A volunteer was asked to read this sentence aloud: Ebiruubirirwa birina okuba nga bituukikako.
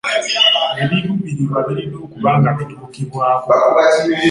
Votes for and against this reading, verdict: 1, 2, rejected